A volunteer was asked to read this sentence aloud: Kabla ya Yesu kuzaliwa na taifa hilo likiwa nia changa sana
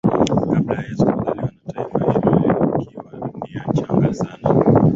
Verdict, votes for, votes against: accepted, 13, 7